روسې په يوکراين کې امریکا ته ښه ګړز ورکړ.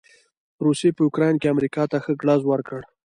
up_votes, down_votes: 2, 1